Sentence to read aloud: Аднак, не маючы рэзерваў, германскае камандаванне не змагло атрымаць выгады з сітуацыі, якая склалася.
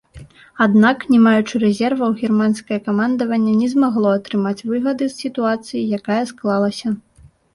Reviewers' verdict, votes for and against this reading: accepted, 2, 0